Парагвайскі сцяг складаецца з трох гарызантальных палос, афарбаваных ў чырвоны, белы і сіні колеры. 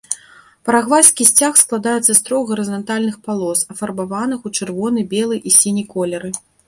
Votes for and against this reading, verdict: 2, 0, accepted